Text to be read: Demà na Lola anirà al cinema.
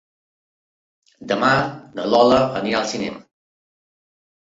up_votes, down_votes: 3, 0